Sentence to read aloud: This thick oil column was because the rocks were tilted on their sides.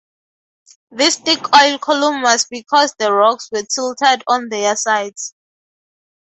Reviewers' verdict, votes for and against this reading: rejected, 0, 2